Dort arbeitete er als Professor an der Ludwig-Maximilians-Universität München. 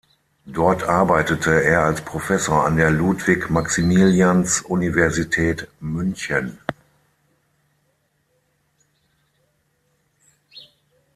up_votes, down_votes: 6, 0